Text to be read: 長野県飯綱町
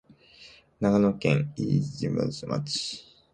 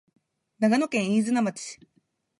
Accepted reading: second